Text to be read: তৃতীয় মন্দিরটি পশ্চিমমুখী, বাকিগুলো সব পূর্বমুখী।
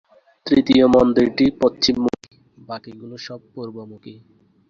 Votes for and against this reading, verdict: 0, 2, rejected